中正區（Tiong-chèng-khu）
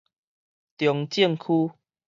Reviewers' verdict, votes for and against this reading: accepted, 4, 0